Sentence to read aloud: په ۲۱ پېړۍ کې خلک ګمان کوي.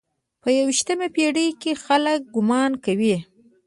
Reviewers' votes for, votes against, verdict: 0, 2, rejected